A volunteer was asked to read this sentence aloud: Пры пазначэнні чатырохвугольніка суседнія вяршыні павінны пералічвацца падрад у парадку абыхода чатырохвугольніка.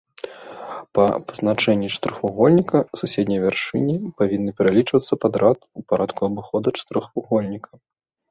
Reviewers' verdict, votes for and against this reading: rejected, 1, 2